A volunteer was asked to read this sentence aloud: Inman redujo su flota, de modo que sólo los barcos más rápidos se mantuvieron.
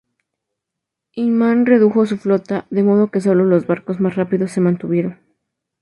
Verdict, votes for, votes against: accepted, 2, 0